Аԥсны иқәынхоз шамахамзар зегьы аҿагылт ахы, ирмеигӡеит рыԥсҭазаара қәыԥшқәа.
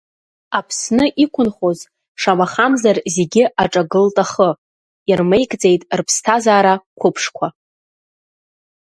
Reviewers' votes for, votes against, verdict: 2, 0, accepted